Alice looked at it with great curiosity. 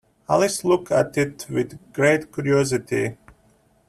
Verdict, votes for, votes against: rejected, 1, 2